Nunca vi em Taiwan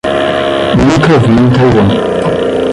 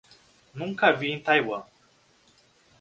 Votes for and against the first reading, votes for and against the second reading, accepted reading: 0, 10, 2, 0, second